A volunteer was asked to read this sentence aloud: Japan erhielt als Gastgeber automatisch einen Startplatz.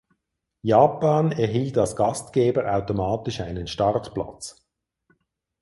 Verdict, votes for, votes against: accepted, 4, 0